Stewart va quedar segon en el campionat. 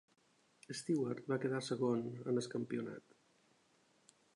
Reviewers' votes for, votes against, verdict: 2, 0, accepted